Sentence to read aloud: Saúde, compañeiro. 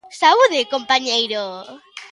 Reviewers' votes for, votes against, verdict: 2, 0, accepted